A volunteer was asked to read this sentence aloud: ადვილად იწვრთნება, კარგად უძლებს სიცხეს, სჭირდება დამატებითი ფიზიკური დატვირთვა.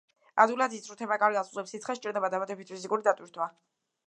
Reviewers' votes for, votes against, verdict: 2, 0, accepted